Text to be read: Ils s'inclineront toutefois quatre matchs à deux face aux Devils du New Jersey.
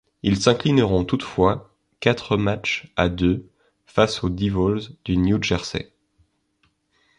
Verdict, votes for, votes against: accepted, 2, 0